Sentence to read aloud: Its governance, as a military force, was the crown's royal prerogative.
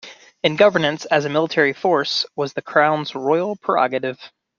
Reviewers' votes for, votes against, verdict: 0, 2, rejected